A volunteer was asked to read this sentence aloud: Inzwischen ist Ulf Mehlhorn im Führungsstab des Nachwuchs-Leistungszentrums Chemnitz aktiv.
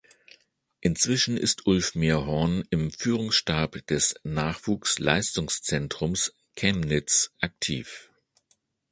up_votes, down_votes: 1, 2